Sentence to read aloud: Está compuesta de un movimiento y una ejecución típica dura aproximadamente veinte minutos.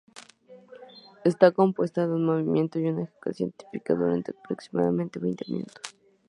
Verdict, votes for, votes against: rejected, 0, 2